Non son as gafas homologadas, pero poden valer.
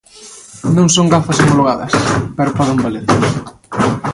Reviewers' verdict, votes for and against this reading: rejected, 1, 2